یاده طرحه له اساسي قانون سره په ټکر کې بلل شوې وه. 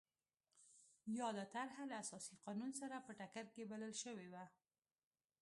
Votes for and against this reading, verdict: 2, 0, accepted